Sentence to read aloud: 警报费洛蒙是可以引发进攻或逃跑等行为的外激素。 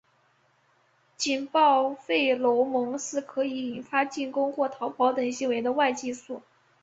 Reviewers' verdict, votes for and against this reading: rejected, 0, 2